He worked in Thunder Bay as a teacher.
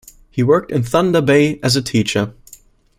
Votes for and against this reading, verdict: 2, 0, accepted